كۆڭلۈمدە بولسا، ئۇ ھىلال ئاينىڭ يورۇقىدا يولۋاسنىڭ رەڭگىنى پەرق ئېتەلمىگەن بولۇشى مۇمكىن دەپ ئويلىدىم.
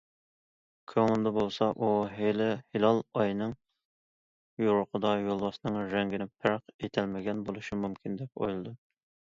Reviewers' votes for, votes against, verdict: 0, 2, rejected